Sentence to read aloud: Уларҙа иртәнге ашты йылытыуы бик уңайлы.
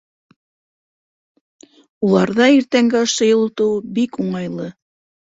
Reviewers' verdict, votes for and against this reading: accepted, 2, 0